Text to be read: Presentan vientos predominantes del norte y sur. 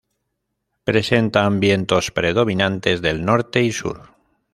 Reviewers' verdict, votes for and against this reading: accepted, 2, 0